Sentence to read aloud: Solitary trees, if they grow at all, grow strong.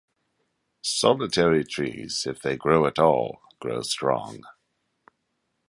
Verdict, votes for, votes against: accepted, 2, 0